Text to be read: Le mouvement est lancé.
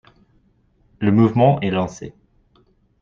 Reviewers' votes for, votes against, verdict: 2, 0, accepted